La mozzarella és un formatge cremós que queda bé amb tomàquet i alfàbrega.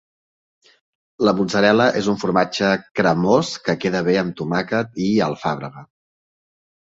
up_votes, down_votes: 2, 0